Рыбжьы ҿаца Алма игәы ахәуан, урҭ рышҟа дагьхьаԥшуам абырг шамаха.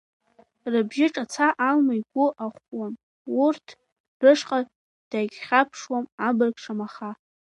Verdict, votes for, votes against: rejected, 0, 2